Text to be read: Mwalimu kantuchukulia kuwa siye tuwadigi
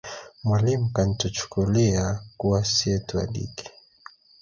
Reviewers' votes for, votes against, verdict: 3, 1, accepted